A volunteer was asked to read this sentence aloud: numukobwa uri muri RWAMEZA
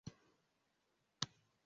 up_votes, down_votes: 0, 2